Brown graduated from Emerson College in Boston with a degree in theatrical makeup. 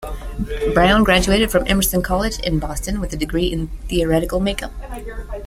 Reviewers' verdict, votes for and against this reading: rejected, 0, 2